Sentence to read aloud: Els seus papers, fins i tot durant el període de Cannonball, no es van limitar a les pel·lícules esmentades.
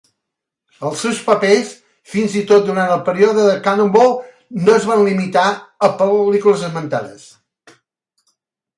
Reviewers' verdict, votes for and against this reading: rejected, 0, 2